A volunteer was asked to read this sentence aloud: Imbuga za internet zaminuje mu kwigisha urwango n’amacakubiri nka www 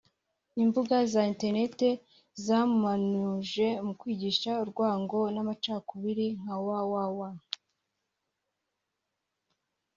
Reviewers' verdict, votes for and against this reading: rejected, 1, 2